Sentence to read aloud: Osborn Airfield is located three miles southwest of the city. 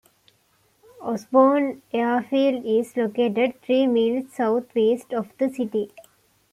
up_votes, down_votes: 0, 2